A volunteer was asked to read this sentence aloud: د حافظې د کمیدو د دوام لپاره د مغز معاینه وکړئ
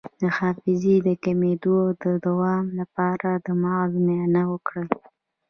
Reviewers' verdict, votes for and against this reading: rejected, 0, 2